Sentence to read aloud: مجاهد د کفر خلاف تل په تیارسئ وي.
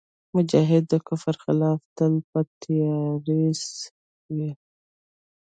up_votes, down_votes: 2, 0